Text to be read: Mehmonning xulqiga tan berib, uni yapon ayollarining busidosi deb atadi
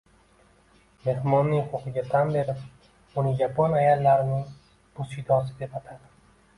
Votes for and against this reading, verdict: 2, 0, accepted